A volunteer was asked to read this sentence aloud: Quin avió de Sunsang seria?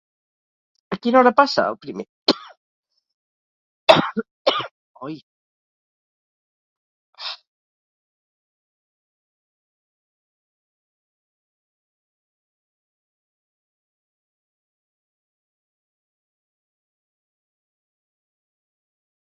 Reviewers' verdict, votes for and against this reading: rejected, 0, 4